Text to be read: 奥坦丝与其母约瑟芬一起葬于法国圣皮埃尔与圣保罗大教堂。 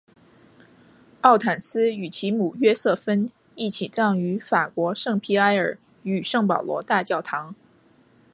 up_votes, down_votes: 2, 0